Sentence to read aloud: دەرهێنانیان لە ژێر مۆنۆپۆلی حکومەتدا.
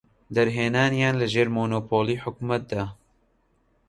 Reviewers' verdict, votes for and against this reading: accepted, 2, 0